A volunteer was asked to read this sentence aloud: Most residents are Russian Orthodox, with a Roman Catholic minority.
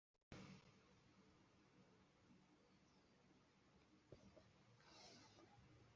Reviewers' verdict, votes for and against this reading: rejected, 0, 2